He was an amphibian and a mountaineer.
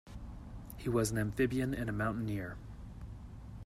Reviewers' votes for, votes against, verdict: 2, 0, accepted